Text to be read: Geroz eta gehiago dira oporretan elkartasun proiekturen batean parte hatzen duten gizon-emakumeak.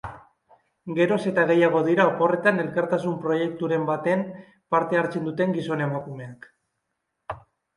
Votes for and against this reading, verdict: 0, 3, rejected